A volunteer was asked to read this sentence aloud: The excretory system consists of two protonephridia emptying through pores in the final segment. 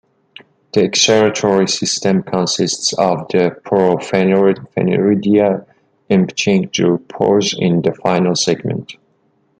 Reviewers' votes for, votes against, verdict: 0, 2, rejected